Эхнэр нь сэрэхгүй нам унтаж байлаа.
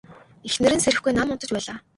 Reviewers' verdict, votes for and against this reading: rejected, 2, 2